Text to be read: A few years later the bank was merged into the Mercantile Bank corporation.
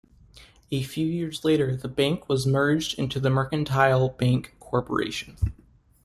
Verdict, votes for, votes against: accepted, 2, 0